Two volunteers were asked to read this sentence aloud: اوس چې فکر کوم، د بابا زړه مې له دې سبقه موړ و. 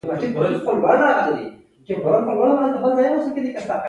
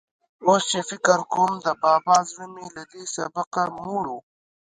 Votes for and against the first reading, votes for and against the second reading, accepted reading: 1, 2, 2, 0, second